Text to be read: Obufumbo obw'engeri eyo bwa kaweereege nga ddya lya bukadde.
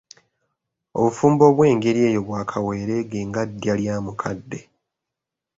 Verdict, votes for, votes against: accepted, 2, 1